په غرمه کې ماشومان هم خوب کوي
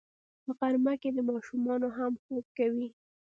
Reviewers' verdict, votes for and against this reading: accepted, 2, 0